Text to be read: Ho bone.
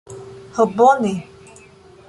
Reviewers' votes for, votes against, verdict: 0, 2, rejected